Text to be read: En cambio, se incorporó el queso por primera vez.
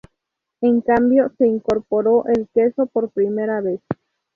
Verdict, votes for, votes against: accepted, 2, 0